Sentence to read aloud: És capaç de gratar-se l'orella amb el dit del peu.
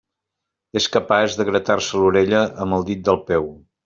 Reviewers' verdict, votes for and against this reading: accepted, 3, 0